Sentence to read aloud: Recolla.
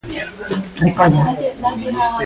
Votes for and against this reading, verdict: 1, 2, rejected